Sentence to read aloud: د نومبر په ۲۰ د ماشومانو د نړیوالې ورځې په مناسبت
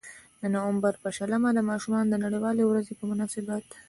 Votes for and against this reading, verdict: 0, 2, rejected